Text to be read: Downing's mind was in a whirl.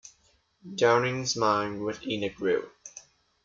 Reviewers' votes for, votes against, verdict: 0, 2, rejected